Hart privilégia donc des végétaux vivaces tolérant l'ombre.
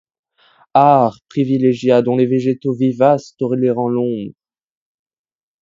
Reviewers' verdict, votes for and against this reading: rejected, 1, 2